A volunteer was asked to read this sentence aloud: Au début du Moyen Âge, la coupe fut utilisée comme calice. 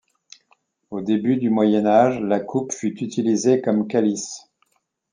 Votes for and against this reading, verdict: 2, 0, accepted